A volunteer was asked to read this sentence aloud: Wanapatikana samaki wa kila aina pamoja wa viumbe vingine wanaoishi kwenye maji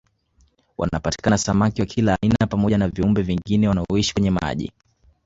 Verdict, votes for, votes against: accepted, 2, 0